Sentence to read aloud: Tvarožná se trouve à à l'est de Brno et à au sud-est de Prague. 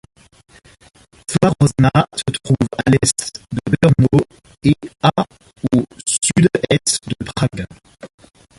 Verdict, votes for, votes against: rejected, 1, 2